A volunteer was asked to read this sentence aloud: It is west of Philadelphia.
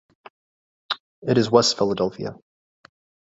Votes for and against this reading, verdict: 1, 2, rejected